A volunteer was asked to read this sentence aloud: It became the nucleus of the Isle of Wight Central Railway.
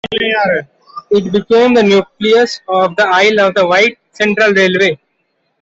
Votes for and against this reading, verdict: 1, 2, rejected